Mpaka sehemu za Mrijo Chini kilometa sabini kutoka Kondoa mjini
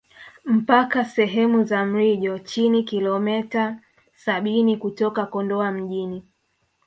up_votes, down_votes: 1, 2